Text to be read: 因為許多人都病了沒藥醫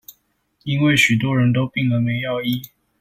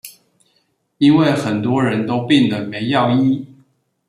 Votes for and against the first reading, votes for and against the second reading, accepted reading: 2, 0, 1, 2, first